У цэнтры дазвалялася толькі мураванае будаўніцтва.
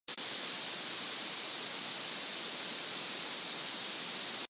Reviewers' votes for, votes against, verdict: 0, 2, rejected